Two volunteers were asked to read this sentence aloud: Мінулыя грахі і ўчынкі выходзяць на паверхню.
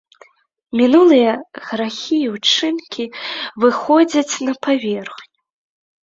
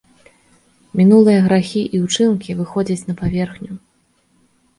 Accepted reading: second